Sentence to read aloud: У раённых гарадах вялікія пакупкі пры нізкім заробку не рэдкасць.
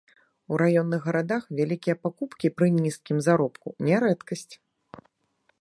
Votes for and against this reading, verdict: 2, 0, accepted